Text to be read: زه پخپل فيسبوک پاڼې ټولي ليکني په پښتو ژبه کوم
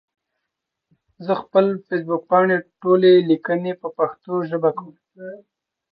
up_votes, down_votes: 1, 2